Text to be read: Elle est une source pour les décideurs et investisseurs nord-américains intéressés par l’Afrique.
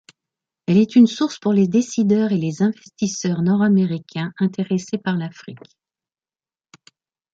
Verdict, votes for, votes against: rejected, 1, 2